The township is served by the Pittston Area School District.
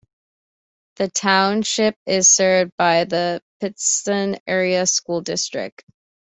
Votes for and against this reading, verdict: 2, 0, accepted